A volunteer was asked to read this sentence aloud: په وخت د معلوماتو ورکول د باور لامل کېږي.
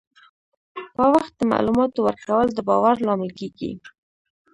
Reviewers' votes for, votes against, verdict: 0, 2, rejected